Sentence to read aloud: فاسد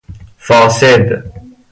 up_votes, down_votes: 2, 0